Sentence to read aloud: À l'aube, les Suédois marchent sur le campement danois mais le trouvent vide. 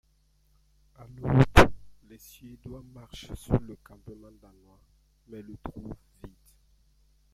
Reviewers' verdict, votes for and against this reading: rejected, 0, 2